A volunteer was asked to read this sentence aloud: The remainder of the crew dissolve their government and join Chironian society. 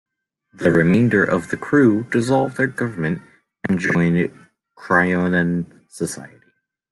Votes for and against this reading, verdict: 1, 2, rejected